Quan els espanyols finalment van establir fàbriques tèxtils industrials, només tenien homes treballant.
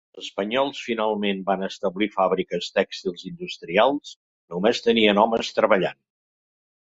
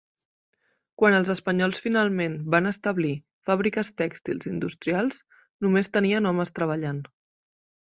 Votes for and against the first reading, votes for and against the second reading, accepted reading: 1, 2, 2, 0, second